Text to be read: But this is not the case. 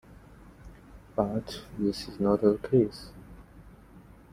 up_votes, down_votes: 2, 1